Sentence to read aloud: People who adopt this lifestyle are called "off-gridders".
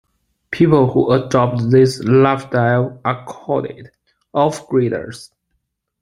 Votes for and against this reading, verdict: 2, 1, accepted